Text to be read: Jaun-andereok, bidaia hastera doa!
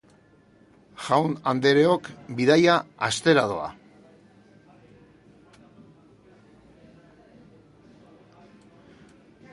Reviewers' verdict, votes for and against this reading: accepted, 5, 1